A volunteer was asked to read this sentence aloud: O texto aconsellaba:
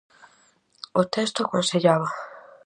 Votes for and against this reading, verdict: 4, 0, accepted